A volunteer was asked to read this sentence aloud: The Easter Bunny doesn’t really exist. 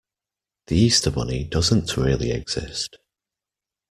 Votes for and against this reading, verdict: 2, 0, accepted